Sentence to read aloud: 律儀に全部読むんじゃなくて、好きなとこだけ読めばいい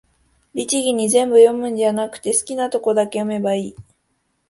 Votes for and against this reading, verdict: 2, 0, accepted